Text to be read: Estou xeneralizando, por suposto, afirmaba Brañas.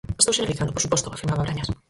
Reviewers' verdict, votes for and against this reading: rejected, 0, 4